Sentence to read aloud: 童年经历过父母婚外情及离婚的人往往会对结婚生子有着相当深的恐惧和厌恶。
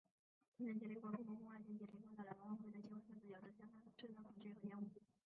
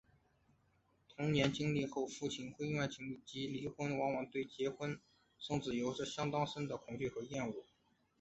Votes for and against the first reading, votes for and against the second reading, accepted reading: 2, 6, 3, 0, second